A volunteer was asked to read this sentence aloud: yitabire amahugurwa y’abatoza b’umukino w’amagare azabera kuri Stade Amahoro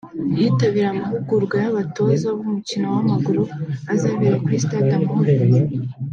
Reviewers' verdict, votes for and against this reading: rejected, 1, 2